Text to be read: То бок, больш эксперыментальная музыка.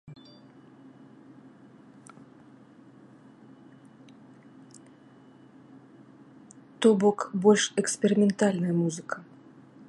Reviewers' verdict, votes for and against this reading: rejected, 1, 2